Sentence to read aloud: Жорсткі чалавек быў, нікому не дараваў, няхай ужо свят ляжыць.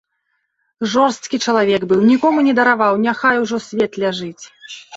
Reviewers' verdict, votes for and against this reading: rejected, 0, 2